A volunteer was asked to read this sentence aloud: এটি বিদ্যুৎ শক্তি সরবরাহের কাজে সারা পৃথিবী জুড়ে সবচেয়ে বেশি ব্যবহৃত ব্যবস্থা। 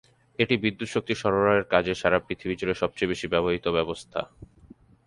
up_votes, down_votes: 2, 0